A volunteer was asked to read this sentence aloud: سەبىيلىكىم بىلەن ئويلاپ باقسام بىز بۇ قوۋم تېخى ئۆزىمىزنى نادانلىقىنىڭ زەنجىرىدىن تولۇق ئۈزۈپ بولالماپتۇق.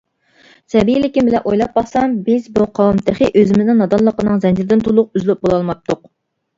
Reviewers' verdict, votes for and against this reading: rejected, 0, 2